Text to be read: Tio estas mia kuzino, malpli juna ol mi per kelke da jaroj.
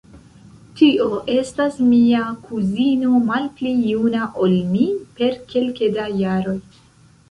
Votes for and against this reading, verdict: 1, 2, rejected